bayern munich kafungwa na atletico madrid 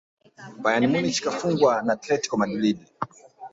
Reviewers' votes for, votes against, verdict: 0, 2, rejected